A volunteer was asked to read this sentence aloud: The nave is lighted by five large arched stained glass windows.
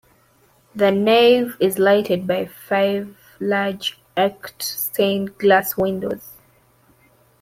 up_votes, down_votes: 0, 2